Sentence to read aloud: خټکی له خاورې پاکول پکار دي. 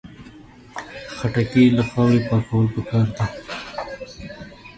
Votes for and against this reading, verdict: 0, 2, rejected